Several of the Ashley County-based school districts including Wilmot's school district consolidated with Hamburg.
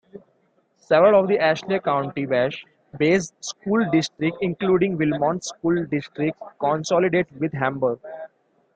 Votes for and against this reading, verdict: 2, 1, accepted